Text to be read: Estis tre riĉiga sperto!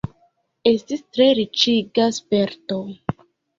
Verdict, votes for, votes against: rejected, 1, 2